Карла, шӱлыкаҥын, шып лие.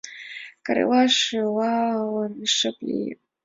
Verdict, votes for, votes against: rejected, 0, 2